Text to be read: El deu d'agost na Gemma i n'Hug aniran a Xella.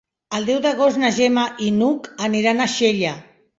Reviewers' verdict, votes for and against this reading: accepted, 3, 0